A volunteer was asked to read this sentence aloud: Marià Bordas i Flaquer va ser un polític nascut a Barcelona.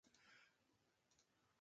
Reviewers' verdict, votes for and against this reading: rejected, 1, 2